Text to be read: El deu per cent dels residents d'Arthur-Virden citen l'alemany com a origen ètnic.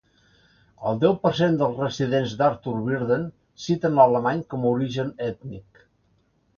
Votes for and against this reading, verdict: 2, 0, accepted